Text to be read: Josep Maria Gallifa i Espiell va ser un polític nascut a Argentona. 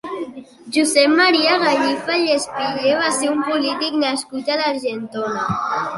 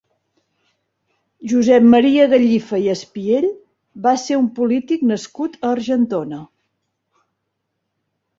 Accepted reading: second